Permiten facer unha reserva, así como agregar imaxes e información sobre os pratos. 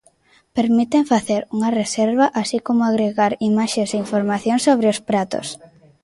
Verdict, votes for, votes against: rejected, 0, 2